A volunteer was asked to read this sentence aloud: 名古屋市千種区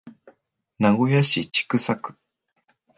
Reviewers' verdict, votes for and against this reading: rejected, 1, 2